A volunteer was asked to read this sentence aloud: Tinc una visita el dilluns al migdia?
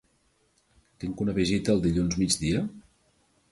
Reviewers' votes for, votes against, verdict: 0, 2, rejected